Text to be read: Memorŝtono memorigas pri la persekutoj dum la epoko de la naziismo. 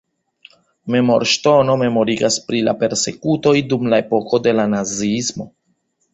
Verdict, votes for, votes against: accepted, 2, 0